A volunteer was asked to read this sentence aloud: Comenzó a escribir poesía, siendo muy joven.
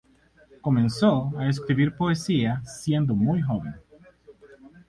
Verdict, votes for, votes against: accepted, 2, 0